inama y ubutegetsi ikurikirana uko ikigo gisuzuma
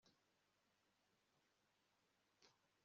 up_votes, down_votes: 1, 2